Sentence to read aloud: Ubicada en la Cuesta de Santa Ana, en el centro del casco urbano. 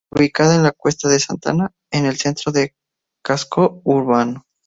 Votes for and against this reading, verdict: 2, 0, accepted